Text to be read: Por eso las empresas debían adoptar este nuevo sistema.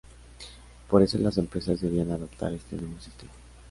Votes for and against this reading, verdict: 0, 2, rejected